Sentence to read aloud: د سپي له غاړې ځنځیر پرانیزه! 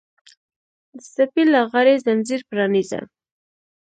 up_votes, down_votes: 1, 2